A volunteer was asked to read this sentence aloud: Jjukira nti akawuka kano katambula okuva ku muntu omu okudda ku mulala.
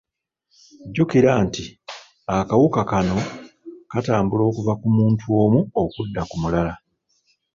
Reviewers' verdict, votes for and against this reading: accepted, 2, 0